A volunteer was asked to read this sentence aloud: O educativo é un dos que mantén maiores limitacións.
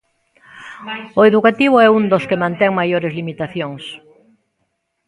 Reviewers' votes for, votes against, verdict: 0, 2, rejected